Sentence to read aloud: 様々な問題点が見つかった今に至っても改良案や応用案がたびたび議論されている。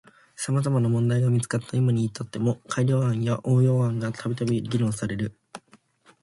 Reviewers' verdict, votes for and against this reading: rejected, 1, 2